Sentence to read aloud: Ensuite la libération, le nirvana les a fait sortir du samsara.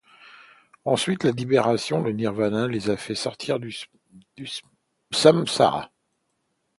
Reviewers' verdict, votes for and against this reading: rejected, 0, 2